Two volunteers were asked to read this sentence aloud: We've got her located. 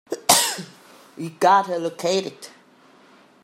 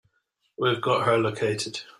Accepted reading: second